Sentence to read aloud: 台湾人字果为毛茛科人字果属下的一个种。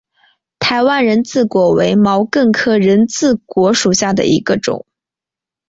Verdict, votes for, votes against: accepted, 4, 2